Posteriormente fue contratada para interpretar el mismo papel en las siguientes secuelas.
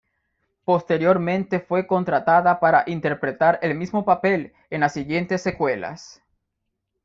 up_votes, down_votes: 2, 0